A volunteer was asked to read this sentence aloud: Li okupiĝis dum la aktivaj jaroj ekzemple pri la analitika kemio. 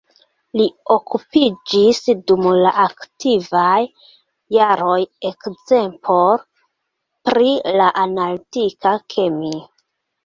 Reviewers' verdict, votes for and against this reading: rejected, 1, 2